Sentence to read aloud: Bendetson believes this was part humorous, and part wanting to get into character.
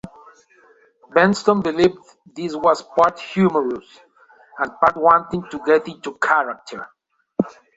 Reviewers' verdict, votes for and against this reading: rejected, 1, 2